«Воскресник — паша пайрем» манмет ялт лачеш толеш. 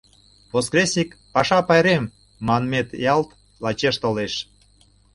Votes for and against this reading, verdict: 2, 0, accepted